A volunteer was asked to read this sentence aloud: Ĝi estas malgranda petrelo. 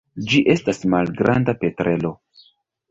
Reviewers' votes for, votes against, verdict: 2, 0, accepted